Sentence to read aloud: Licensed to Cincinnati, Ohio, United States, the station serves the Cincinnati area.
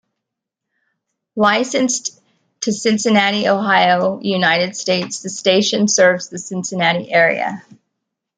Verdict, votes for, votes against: rejected, 1, 2